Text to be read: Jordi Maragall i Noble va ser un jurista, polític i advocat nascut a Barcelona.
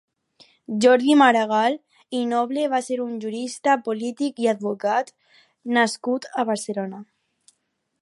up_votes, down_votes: 4, 0